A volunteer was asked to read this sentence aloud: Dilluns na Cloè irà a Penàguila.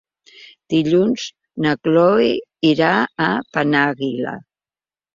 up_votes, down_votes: 5, 1